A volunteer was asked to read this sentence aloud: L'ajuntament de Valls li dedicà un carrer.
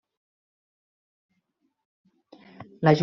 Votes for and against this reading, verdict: 0, 2, rejected